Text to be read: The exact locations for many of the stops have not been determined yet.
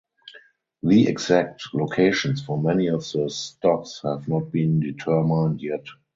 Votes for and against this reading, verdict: 4, 0, accepted